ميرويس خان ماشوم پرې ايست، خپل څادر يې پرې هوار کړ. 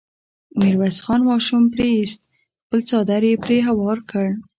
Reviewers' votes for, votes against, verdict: 2, 0, accepted